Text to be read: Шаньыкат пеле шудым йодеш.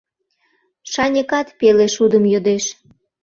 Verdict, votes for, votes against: accepted, 2, 0